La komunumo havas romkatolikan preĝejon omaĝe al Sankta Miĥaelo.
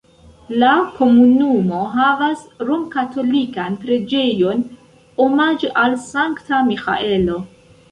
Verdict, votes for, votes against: accepted, 2, 0